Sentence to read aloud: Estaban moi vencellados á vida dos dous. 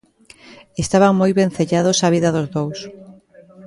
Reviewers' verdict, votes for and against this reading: rejected, 0, 2